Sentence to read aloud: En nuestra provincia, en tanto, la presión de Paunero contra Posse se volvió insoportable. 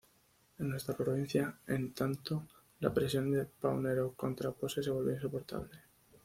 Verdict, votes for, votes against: accepted, 2, 0